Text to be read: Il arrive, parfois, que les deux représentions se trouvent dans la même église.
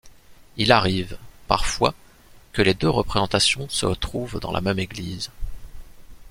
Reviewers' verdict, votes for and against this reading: rejected, 0, 2